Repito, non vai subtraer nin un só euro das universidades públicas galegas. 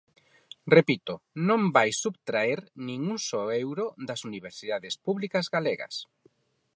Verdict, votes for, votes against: accepted, 4, 0